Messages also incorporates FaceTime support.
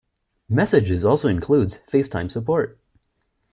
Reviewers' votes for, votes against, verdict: 0, 2, rejected